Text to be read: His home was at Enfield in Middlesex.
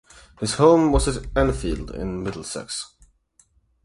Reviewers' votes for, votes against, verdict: 4, 4, rejected